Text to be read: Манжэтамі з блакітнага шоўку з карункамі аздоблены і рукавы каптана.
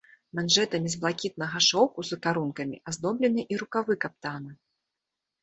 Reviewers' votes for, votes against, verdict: 2, 0, accepted